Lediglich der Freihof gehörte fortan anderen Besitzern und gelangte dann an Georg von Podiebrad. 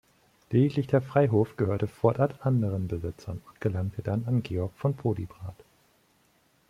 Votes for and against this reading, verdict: 1, 2, rejected